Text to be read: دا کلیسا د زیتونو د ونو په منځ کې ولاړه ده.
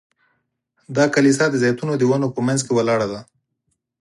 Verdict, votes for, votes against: accepted, 4, 0